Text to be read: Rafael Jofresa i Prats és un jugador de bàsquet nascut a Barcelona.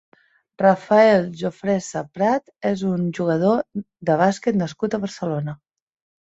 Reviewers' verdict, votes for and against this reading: rejected, 0, 2